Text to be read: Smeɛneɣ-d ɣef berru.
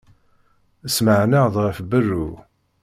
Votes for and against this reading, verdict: 1, 2, rejected